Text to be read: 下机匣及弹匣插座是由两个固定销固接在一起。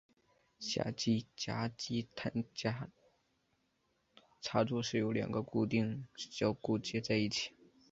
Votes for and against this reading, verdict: 1, 2, rejected